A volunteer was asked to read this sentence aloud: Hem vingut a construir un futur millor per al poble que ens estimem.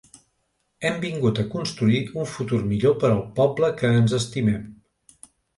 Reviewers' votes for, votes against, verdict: 2, 0, accepted